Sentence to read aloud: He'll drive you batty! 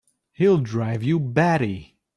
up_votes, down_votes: 2, 0